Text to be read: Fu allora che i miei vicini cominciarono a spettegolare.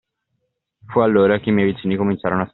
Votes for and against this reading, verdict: 0, 2, rejected